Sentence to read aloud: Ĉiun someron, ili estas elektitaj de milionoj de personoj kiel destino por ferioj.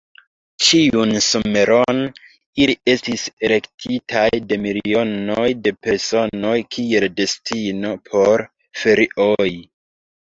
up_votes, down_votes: 0, 2